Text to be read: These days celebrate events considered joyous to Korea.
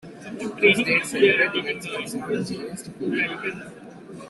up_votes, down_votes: 0, 2